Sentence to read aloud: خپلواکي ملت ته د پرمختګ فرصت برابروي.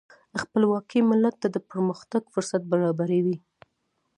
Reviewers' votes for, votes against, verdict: 2, 0, accepted